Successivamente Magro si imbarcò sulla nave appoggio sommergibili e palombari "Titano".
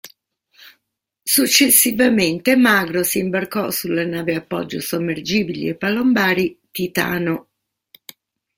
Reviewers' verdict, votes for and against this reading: rejected, 0, 2